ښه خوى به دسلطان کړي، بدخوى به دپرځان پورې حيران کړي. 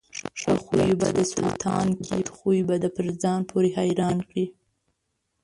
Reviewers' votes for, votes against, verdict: 1, 2, rejected